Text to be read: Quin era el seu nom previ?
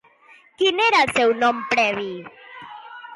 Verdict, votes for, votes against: accepted, 2, 0